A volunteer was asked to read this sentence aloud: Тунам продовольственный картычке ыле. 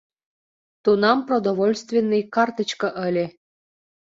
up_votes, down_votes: 3, 0